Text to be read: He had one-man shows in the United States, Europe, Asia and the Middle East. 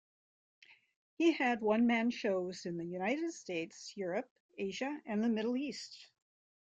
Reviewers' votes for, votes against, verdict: 2, 0, accepted